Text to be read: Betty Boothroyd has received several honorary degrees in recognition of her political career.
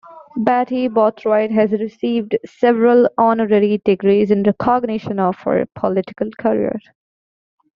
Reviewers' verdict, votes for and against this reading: accepted, 2, 0